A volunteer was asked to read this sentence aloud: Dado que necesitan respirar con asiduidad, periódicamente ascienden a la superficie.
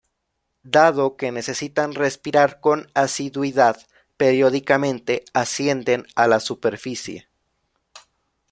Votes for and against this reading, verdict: 2, 0, accepted